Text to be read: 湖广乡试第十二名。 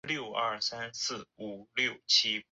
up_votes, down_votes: 0, 2